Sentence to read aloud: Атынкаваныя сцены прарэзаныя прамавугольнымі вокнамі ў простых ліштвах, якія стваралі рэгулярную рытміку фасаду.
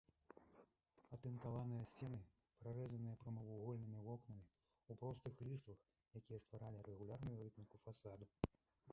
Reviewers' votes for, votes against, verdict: 1, 2, rejected